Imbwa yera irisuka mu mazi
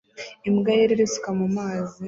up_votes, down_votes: 2, 1